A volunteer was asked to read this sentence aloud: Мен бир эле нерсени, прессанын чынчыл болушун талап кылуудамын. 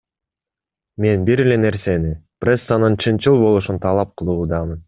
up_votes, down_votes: 2, 0